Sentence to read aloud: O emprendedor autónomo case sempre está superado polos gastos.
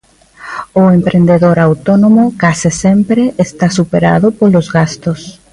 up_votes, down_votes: 0, 2